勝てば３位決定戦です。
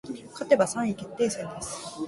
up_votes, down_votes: 0, 2